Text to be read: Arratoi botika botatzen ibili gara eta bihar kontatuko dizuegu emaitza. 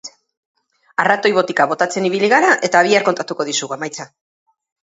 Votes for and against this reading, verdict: 2, 2, rejected